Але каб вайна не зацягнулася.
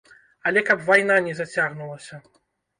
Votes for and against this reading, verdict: 1, 2, rejected